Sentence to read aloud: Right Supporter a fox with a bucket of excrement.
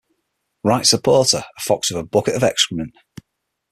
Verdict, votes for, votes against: accepted, 6, 0